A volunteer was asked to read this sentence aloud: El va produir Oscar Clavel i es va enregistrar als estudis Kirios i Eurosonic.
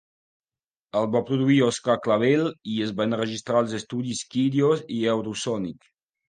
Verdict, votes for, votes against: accepted, 2, 0